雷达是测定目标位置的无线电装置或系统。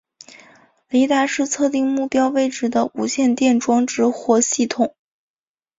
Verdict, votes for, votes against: accepted, 4, 0